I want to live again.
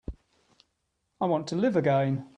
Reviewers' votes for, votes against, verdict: 3, 0, accepted